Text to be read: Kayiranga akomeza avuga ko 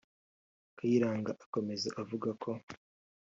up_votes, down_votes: 1, 2